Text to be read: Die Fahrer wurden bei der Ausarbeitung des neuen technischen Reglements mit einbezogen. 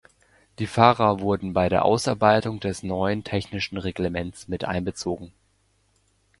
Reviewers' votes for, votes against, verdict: 2, 1, accepted